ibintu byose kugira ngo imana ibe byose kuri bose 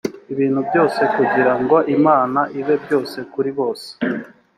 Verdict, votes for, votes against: accepted, 2, 0